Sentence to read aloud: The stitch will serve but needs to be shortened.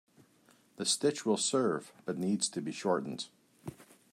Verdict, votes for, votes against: accepted, 2, 0